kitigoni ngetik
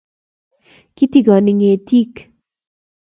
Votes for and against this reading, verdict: 2, 0, accepted